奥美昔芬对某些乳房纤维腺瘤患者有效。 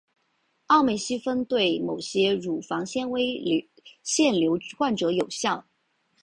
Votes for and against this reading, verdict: 6, 0, accepted